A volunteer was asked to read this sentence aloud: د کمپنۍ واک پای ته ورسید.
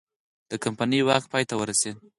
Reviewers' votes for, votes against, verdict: 4, 0, accepted